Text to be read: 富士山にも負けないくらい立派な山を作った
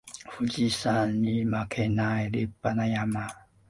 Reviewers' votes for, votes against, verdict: 0, 2, rejected